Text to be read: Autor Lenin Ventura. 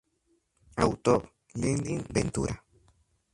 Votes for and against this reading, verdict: 4, 2, accepted